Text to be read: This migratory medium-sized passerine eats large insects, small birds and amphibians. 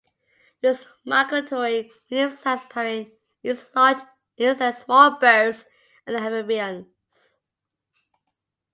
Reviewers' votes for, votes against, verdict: 1, 2, rejected